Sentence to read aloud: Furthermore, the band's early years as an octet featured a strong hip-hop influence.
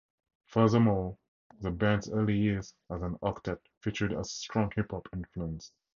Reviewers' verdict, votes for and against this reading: accepted, 2, 0